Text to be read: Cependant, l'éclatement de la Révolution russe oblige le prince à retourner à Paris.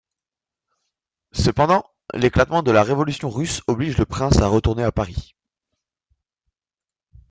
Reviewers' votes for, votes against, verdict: 0, 2, rejected